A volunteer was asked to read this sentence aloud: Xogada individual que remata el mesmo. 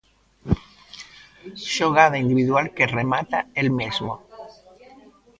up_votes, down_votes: 1, 2